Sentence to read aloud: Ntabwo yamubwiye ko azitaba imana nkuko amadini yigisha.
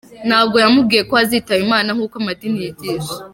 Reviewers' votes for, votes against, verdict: 2, 0, accepted